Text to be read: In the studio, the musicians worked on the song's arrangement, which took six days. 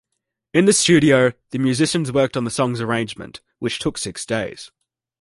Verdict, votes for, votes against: accepted, 2, 1